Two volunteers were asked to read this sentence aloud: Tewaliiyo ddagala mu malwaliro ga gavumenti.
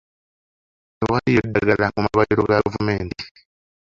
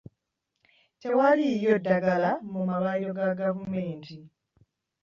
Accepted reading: second